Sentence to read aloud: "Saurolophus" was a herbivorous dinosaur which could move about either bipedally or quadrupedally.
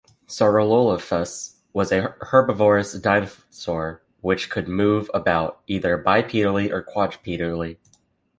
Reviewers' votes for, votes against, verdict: 0, 2, rejected